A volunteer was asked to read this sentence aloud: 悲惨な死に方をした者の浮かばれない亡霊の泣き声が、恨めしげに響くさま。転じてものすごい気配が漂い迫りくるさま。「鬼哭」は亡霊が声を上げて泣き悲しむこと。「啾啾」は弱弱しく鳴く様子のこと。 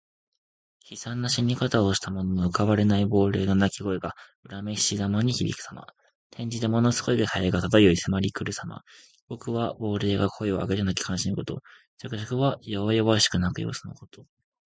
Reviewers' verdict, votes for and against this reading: accepted, 2, 1